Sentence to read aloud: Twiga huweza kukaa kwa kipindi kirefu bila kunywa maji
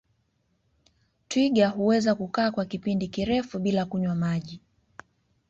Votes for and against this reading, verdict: 2, 0, accepted